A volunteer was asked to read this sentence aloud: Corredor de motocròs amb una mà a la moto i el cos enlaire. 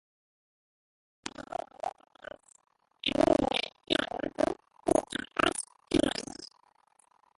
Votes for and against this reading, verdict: 0, 2, rejected